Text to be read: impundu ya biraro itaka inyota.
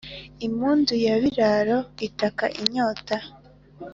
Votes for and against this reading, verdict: 2, 0, accepted